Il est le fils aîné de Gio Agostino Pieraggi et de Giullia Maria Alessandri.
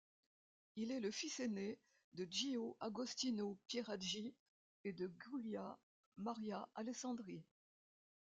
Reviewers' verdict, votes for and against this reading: rejected, 1, 2